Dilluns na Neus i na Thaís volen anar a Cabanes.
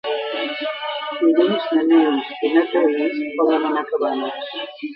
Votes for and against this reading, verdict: 0, 2, rejected